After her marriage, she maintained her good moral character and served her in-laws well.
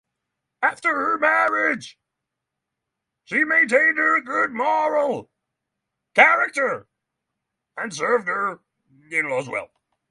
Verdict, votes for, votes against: rejected, 0, 3